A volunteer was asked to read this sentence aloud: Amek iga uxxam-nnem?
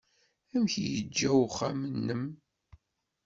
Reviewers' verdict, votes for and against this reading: rejected, 1, 2